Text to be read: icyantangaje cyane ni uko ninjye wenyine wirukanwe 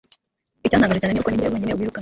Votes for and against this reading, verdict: 1, 2, rejected